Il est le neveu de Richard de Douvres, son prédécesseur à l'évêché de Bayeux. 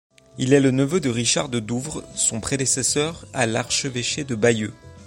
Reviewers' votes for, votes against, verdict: 0, 2, rejected